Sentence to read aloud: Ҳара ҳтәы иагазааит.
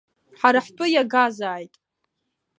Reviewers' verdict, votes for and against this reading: accepted, 2, 0